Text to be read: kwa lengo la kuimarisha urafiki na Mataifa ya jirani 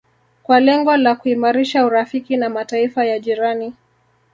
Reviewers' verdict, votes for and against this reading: rejected, 1, 2